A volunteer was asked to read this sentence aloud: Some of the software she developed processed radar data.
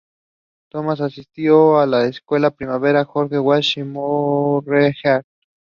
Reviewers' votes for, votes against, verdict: 0, 2, rejected